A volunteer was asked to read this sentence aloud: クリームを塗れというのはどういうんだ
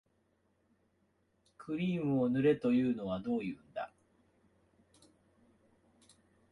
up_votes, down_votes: 3, 4